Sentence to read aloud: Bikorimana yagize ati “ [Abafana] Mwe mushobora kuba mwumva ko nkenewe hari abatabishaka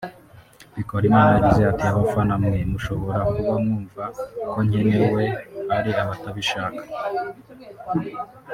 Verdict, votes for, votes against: rejected, 1, 2